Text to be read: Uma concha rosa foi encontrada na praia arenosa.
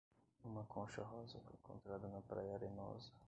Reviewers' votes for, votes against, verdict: 1, 2, rejected